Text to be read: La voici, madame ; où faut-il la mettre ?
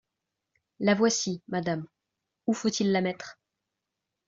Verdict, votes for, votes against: accepted, 2, 0